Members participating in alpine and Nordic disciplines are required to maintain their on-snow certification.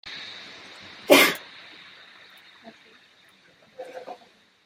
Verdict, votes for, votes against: rejected, 0, 2